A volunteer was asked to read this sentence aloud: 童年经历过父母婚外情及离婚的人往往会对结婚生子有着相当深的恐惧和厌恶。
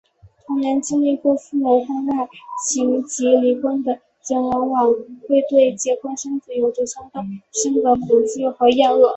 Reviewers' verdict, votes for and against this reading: rejected, 0, 2